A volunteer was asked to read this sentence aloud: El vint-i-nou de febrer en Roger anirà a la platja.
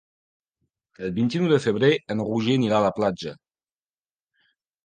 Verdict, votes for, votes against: accepted, 2, 0